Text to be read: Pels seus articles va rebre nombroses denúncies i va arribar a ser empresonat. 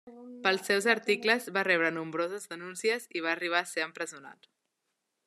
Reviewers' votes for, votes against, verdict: 4, 0, accepted